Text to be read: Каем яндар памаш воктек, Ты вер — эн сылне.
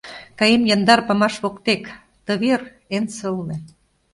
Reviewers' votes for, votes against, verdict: 2, 0, accepted